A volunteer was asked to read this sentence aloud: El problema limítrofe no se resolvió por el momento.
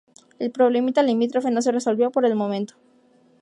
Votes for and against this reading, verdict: 2, 2, rejected